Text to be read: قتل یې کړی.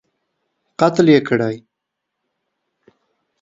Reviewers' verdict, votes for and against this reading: rejected, 1, 2